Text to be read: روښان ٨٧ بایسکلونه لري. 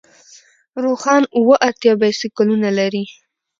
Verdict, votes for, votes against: rejected, 0, 2